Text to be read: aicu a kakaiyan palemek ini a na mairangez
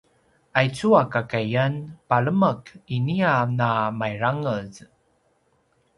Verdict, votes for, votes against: accepted, 2, 0